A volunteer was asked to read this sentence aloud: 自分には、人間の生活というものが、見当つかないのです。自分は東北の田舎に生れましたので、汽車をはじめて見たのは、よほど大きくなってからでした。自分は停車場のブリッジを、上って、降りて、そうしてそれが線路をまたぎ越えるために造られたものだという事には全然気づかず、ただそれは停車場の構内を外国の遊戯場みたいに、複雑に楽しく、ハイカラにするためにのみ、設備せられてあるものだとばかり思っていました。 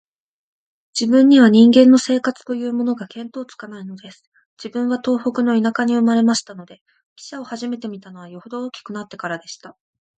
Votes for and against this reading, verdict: 2, 0, accepted